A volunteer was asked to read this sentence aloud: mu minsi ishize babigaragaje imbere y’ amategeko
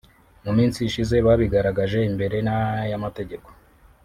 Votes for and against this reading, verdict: 1, 2, rejected